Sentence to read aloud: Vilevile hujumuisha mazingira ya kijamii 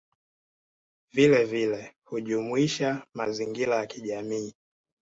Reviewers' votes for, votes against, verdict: 2, 0, accepted